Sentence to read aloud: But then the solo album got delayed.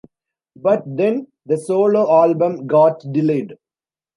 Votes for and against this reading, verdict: 2, 0, accepted